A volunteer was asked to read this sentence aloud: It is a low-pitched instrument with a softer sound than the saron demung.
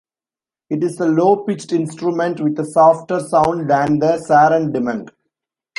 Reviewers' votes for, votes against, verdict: 2, 0, accepted